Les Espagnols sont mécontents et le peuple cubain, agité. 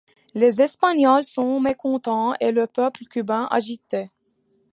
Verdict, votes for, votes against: accepted, 2, 0